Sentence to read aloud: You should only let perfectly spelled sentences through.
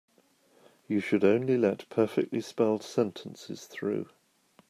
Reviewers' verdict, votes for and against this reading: accepted, 2, 0